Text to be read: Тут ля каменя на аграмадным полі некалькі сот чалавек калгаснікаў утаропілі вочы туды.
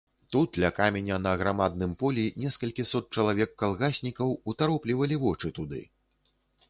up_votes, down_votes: 1, 2